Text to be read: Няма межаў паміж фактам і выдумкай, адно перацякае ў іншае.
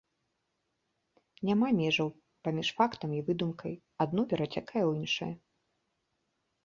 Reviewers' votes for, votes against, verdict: 2, 0, accepted